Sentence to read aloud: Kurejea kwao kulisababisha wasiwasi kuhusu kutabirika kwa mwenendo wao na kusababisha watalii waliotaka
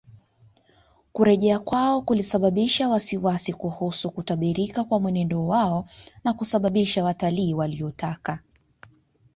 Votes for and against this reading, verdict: 2, 1, accepted